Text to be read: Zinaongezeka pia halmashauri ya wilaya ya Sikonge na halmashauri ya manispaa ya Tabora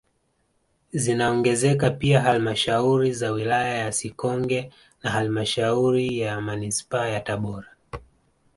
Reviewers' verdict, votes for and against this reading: accepted, 2, 1